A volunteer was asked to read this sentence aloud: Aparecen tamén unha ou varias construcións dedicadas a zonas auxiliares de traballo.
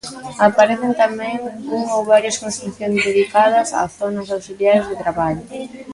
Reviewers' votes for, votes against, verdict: 2, 0, accepted